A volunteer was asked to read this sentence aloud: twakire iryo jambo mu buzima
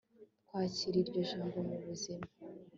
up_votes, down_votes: 3, 0